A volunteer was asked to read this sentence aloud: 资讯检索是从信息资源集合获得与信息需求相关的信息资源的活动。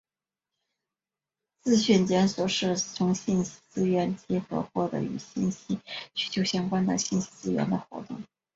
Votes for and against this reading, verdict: 3, 1, accepted